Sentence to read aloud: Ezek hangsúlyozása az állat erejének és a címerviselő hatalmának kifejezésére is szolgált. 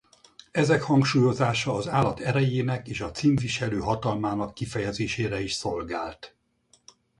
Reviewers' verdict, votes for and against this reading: rejected, 0, 4